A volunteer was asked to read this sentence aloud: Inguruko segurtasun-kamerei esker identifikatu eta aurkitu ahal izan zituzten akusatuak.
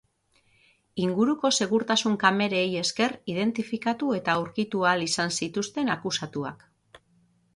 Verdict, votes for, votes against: accepted, 6, 0